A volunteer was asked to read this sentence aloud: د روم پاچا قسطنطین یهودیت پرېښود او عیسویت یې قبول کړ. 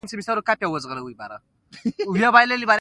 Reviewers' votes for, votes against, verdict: 2, 1, accepted